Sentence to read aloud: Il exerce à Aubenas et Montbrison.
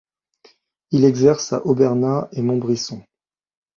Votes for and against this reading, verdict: 1, 2, rejected